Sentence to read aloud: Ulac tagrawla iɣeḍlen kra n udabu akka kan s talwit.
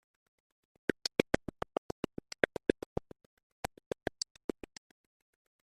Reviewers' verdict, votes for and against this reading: rejected, 0, 2